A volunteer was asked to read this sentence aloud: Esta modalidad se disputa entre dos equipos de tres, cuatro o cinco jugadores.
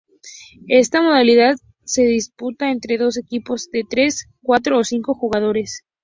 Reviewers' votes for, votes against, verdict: 4, 0, accepted